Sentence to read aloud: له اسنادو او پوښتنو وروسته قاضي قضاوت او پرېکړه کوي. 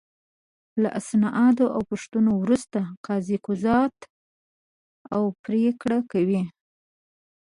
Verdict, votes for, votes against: rejected, 0, 2